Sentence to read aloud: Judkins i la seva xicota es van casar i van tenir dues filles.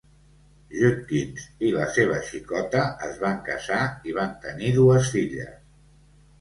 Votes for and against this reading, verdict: 2, 0, accepted